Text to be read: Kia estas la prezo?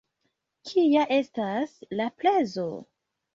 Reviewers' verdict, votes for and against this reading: accepted, 2, 1